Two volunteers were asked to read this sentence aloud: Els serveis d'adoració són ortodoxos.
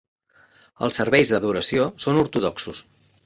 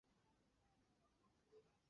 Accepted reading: first